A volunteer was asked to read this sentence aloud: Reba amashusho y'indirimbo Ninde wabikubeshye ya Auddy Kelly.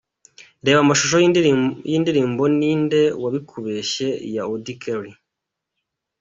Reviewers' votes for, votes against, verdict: 2, 1, accepted